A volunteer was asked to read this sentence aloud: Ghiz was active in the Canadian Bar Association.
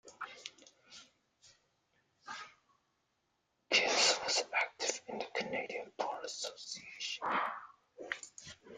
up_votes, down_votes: 1, 2